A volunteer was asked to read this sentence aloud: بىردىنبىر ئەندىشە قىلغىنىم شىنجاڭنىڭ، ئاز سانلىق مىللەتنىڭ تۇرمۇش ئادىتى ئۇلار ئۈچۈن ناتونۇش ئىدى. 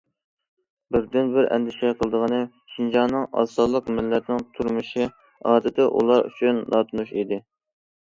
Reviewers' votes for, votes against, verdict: 0, 2, rejected